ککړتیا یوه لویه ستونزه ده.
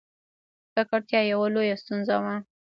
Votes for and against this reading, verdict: 1, 2, rejected